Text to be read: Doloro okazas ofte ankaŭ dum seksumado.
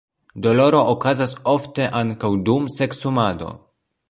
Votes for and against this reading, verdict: 2, 0, accepted